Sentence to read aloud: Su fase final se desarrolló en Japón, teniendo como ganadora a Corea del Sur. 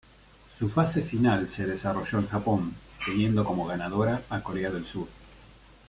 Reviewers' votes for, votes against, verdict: 0, 2, rejected